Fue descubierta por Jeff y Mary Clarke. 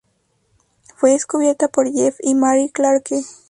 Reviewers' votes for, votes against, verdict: 0, 4, rejected